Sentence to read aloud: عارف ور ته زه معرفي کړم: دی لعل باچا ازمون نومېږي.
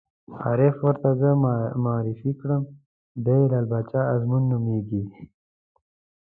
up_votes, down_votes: 0, 2